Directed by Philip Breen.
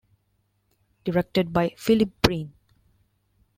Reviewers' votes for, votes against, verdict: 1, 2, rejected